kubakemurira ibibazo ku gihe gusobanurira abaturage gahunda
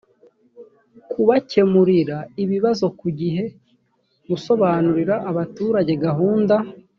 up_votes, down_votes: 0, 2